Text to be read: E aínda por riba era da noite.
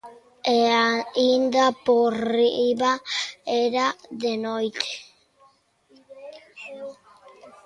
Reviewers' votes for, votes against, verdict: 0, 2, rejected